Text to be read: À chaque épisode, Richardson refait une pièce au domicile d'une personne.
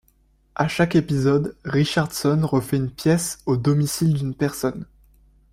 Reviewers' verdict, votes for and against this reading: accepted, 2, 0